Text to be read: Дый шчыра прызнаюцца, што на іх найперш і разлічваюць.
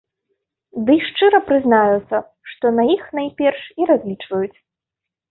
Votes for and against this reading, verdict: 0, 2, rejected